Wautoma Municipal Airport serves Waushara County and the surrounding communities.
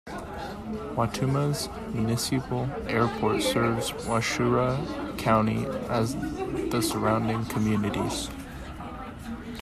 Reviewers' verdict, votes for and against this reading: rejected, 1, 2